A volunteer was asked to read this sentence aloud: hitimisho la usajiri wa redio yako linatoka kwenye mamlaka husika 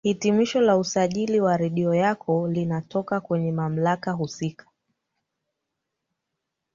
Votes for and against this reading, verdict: 0, 2, rejected